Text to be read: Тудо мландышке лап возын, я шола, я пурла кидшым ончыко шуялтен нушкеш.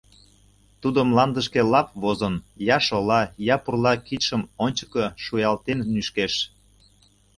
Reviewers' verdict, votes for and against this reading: rejected, 0, 2